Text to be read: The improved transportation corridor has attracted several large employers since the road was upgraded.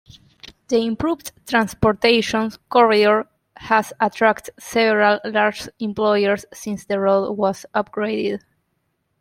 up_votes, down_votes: 0, 2